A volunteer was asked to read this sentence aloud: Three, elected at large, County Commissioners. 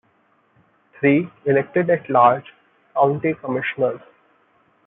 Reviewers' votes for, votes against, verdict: 1, 2, rejected